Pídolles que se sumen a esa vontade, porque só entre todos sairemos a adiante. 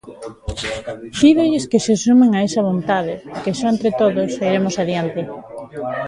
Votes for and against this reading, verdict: 1, 2, rejected